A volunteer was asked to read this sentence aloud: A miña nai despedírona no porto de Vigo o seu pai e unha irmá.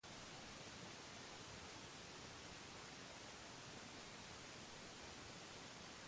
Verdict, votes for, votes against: rejected, 0, 2